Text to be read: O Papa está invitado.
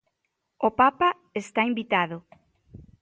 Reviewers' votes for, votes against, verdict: 2, 0, accepted